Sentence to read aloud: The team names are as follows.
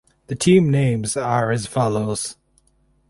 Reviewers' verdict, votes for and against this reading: accepted, 4, 0